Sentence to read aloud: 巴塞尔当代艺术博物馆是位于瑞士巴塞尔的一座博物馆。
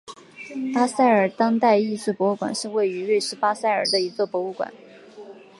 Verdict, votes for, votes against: accepted, 6, 1